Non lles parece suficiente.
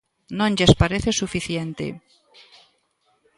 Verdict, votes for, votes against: accepted, 2, 1